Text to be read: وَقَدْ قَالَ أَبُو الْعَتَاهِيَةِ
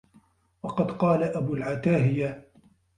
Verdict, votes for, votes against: accepted, 2, 0